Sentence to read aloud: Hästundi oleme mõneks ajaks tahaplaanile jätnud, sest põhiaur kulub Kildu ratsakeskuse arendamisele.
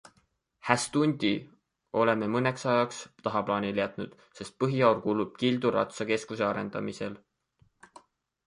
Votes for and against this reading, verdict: 0, 2, rejected